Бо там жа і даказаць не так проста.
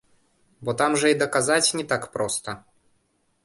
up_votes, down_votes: 1, 2